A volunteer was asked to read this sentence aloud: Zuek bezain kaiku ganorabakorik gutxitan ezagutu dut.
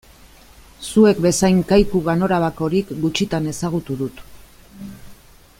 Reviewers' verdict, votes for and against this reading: accepted, 3, 0